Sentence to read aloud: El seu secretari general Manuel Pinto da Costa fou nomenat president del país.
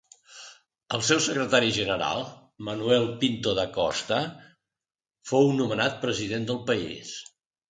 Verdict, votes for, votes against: accepted, 2, 0